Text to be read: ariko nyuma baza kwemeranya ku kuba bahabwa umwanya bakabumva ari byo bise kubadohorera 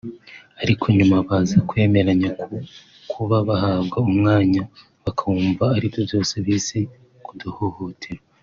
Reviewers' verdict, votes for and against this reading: rejected, 0, 2